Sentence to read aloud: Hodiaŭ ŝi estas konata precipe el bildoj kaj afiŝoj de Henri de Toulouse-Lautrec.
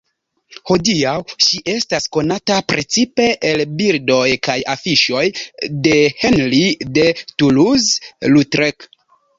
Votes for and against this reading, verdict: 0, 2, rejected